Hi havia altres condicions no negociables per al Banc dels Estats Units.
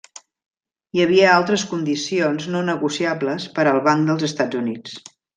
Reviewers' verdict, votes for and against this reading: accepted, 3, 0